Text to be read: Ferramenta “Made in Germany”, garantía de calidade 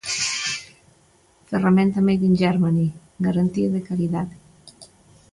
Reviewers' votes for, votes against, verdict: 2, 0, accepted